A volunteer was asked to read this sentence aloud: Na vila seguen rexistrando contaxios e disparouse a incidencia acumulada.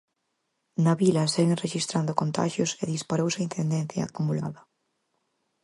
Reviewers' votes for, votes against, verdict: 2, 4, rejected